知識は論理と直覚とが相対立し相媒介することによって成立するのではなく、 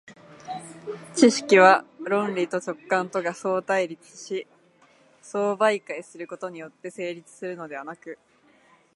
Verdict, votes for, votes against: rejected, 1, 2